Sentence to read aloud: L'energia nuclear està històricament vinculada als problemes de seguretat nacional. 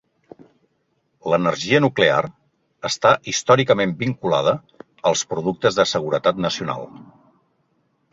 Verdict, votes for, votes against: rejected, 0, 3